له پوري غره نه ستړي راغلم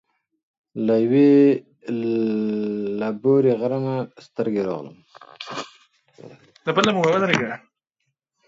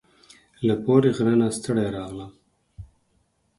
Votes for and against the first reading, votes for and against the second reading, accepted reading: 0, 2, 4, 0, second